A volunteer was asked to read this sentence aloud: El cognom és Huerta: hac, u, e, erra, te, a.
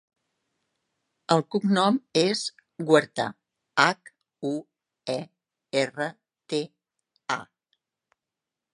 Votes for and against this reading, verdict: 3, 0, accepted